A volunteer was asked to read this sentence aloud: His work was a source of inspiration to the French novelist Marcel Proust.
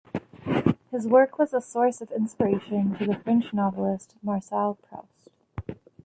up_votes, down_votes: 2, 0